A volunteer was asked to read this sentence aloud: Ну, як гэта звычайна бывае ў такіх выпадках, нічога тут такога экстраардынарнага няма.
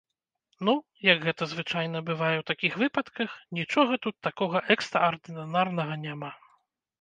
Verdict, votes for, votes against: rejected, 0, 2